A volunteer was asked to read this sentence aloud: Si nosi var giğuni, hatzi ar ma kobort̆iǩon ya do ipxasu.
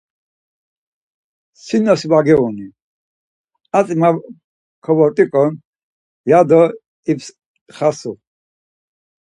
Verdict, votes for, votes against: rejected, 2, 4